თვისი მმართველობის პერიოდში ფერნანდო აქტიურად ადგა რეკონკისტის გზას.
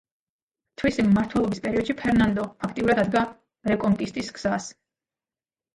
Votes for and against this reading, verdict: 0, 2, rejected